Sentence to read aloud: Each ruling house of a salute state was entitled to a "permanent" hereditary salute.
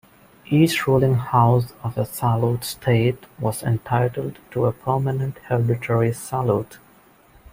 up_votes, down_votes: 1, 2